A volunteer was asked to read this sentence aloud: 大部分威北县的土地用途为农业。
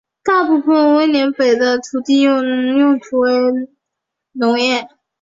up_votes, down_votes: 1, 5